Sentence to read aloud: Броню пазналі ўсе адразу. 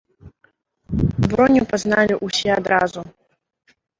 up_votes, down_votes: 1, 3